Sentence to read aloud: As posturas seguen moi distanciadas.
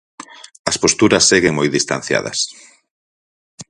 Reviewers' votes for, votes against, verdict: 4, 0, accepted